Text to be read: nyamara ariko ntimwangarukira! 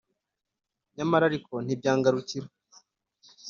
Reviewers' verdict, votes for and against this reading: accepted, 2, 1